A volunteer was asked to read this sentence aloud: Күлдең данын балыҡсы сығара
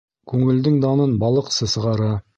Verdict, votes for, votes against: rejected, 0, 2